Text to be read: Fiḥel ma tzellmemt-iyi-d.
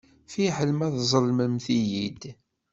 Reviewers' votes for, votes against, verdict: 2, 1, accepted